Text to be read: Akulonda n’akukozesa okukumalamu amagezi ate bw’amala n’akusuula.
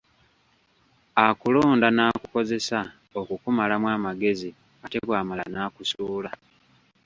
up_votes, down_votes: 2, 0